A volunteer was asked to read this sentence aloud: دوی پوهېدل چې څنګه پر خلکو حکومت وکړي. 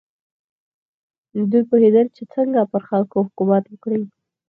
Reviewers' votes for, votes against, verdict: 0, 4, rejected